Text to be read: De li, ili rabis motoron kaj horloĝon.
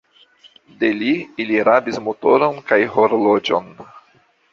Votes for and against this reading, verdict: 2, 0, accepted